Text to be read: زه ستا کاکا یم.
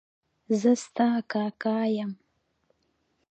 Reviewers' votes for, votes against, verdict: 1, 2, rejected